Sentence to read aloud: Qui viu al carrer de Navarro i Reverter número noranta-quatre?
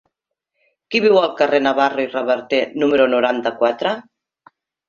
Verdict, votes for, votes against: rejected, 1, 2